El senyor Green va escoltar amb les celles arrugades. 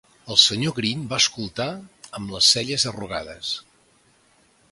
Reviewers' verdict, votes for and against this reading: accepted, 2, 0